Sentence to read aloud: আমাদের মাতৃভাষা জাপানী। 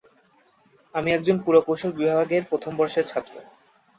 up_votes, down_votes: 0, 2